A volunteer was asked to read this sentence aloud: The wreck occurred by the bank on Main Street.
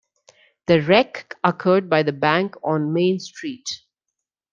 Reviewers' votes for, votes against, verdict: 2, 0, accepted